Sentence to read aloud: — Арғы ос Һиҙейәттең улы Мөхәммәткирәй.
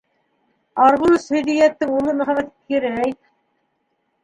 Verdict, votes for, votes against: rejected, 1, 2